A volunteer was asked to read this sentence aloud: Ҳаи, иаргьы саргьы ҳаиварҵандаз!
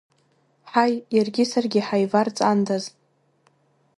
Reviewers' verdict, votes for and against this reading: accepted, 2, 1